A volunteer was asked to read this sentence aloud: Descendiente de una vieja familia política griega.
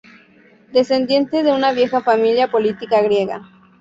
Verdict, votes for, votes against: accepted, 2, 0